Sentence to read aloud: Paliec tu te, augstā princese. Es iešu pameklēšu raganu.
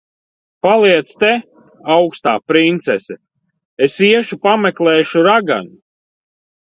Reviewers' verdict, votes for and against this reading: rejected, 0, 2